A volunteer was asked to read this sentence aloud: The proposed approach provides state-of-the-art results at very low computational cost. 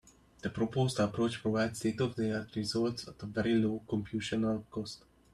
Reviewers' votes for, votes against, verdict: 0, 2, rejected